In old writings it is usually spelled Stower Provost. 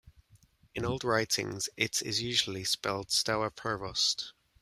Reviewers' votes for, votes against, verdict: 2, 0, accepted